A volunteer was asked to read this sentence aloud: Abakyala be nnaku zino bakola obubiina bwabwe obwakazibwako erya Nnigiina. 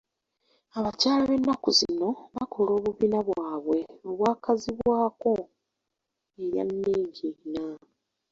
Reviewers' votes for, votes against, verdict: 1, 2, rejected